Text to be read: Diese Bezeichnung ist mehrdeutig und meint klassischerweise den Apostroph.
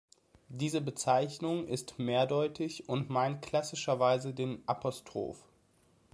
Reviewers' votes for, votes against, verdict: 2, 0, accepted